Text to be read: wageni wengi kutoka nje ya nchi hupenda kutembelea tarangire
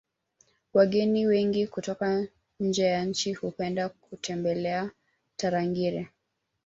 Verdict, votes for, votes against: accepted, 2, 1